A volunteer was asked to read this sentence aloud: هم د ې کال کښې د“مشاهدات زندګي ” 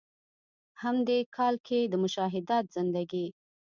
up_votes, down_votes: 1, 2